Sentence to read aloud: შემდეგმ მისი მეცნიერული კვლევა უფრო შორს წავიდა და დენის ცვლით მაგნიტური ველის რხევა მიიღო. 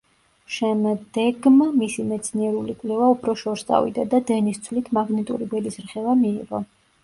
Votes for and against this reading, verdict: 0, 2, rejected